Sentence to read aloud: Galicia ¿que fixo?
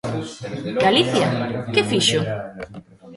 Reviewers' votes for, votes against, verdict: 2, 0, accepted